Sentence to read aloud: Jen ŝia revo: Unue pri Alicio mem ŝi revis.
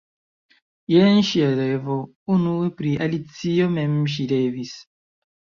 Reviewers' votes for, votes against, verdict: 2, 1, accepted